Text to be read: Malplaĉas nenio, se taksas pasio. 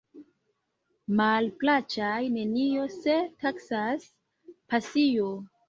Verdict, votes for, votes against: accepted, 2, 0